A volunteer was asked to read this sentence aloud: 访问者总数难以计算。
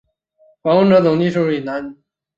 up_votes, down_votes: 0, 2